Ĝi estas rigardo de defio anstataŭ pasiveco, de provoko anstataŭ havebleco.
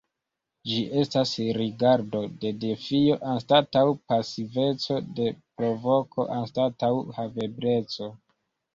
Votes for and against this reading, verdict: 2, 0, accepted